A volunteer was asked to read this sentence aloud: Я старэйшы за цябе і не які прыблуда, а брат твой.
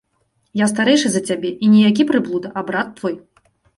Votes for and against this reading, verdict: 3, 1, accepted